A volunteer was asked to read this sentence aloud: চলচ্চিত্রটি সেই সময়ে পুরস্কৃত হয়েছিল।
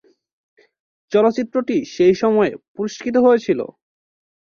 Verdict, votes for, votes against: accepted, 2, 1